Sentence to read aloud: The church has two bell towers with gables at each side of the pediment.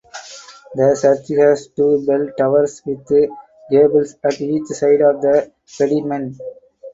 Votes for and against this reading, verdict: 0, 4, rejected